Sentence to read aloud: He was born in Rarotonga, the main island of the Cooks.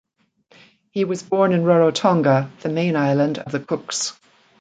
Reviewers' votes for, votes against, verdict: 2, 0, accepted